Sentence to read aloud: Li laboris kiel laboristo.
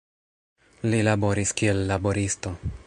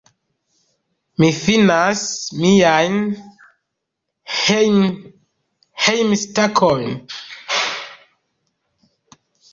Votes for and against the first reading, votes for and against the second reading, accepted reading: 2, 1, 0, 2, first